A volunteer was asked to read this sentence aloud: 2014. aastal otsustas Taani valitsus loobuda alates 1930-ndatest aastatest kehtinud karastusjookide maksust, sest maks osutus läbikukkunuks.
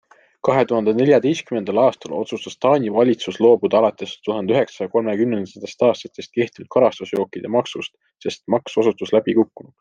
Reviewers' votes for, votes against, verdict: 0, 2, rejected